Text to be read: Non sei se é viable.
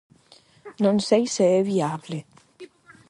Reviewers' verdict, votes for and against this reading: rejected, 4, 4